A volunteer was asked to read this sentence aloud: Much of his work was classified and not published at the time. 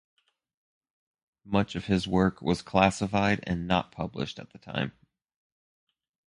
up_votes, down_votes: 2, 0